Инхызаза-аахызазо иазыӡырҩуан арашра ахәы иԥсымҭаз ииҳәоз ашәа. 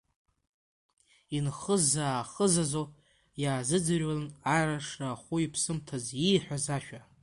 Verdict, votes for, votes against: rejected, 0, 2